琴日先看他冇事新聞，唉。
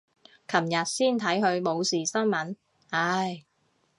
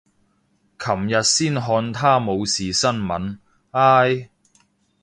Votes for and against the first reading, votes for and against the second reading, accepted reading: 0, 2, 2, 0, second